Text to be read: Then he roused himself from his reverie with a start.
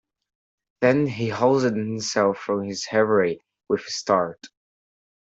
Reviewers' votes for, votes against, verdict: 0, 2, rejected